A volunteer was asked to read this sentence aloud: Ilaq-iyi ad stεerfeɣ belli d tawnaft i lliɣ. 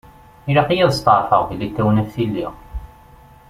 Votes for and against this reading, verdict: 2, 0, accepted